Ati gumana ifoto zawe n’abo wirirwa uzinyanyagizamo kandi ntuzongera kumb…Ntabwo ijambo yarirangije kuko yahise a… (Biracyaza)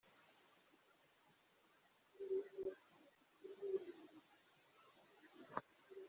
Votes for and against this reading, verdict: 2, 1, accepted